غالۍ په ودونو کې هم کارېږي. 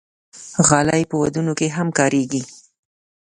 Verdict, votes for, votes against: accepted, 2, 0